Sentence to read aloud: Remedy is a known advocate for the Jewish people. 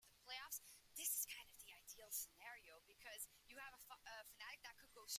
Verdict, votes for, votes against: rejected, 1, 2